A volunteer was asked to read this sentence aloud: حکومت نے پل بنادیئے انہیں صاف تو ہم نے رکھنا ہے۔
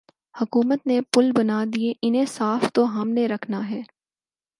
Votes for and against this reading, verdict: 4, 0, accepted